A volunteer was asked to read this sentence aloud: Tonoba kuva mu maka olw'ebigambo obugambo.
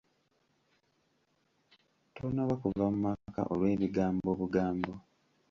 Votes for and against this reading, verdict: 2, 1, accepted